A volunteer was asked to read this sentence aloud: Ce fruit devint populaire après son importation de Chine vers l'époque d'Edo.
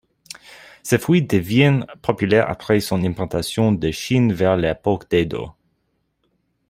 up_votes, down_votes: 2, 1